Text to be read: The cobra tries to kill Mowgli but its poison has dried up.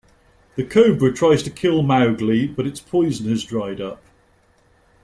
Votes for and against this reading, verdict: 2, 0, accepted